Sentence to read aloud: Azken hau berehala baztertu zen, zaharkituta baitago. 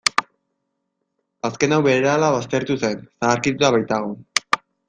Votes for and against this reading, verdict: 2, 1, accepted